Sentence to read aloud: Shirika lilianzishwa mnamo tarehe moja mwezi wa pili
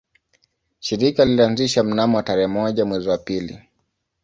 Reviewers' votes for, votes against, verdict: 2, 0, accepted